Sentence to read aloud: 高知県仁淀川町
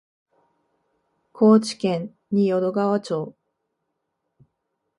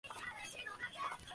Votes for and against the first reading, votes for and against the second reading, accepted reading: 2, 1, 0, 2, first